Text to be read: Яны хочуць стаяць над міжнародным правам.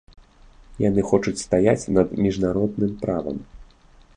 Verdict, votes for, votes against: accepted, 2, 0